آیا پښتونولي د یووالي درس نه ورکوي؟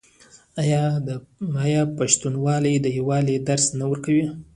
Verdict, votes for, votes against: rejected, 1, 2